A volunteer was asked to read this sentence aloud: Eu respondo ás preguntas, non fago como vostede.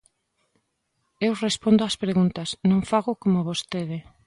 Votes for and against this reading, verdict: 2, 0, accepted